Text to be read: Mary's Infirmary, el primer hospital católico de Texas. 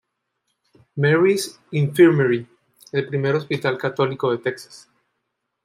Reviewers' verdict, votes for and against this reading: accepted, 2, 0